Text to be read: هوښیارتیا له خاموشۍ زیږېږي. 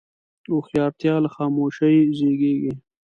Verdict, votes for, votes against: accepted, 2, 0